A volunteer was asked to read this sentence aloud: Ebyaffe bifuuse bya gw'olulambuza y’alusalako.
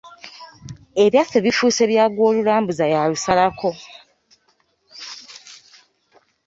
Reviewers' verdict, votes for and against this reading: accepted, 2, 0